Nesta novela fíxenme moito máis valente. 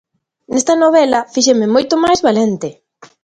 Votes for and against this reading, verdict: 2, 0, accepted